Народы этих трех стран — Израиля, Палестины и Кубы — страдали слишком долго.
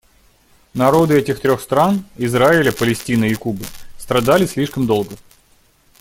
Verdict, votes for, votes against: accepted, 2, 0